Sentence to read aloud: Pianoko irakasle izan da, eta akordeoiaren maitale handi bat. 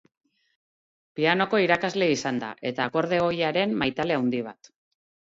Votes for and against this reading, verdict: 0, 2, rejected